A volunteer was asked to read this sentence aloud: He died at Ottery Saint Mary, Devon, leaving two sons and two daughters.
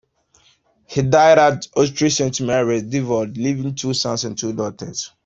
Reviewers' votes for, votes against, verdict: 2, 0, accepted